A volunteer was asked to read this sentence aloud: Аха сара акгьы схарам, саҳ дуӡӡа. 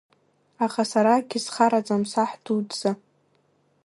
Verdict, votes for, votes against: accepted, 2, 1